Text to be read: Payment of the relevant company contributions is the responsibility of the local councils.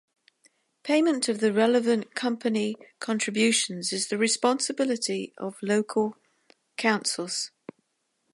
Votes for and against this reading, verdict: 1, 3, rejected